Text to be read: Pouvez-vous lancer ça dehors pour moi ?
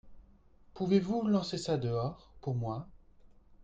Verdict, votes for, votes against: accepted, 2, 0